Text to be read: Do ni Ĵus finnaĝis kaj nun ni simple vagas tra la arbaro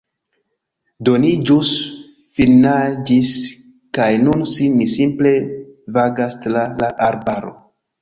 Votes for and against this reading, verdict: 1, 2, rejected